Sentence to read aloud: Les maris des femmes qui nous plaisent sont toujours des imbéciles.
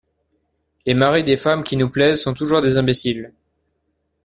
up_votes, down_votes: 2, 0